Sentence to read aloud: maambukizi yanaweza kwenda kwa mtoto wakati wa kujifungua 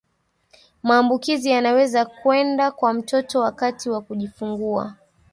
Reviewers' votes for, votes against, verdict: 1, 2, rejected